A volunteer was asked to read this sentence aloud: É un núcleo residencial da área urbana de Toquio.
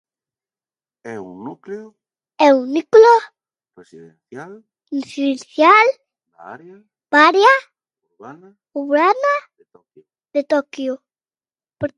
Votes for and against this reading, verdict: 0, 2, rejected